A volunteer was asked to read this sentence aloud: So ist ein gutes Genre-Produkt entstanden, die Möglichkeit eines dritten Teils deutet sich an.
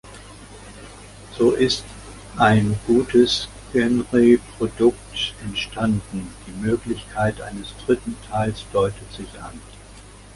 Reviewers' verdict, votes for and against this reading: rejected, 1, 2